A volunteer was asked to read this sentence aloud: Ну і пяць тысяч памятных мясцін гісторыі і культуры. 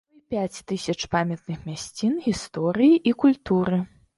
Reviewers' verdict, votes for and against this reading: rejected, 1, 2